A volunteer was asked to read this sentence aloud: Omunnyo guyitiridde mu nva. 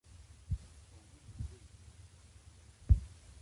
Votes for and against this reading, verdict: 0, 2, rejected